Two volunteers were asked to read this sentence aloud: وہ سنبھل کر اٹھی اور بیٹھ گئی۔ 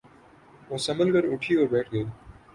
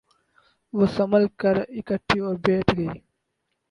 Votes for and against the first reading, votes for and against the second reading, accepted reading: 15, 1, 2, 8, first